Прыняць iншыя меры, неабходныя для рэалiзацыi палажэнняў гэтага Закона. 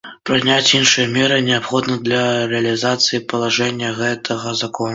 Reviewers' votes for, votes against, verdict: 0, 2, rejected